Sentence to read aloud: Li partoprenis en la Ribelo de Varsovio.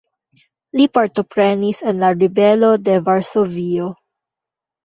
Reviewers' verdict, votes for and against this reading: rejected, 1, 2